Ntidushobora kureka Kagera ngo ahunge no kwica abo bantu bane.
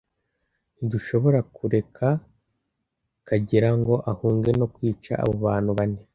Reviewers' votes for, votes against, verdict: 2, 0, accepted